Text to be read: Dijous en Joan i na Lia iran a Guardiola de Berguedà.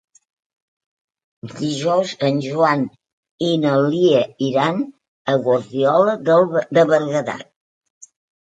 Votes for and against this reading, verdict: 1, 2, rejected